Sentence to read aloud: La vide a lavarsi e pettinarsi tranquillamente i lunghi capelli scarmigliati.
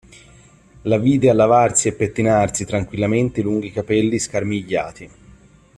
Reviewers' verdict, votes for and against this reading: accepted, 2, 0